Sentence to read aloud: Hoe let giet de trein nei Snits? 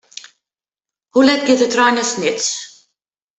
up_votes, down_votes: 2, 0